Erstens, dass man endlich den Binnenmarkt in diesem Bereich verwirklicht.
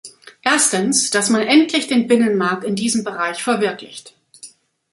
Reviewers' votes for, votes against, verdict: 2, 1, accepted